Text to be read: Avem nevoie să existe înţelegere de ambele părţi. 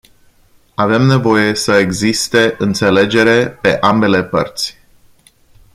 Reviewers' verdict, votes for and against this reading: rejected, 1, 2